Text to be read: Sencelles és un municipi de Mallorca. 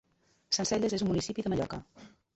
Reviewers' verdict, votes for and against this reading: rejected, 1, 2